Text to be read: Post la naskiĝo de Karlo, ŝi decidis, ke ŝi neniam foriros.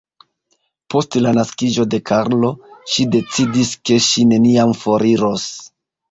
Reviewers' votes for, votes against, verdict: 1, 2, rejected